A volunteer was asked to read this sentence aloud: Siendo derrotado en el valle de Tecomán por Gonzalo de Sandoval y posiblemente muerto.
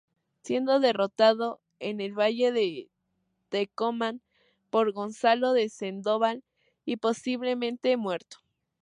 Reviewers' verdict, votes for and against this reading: rejected, 0, 2